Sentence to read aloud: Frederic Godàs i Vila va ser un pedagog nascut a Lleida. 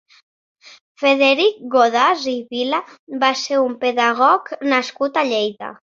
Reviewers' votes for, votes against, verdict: 2, 0, accepted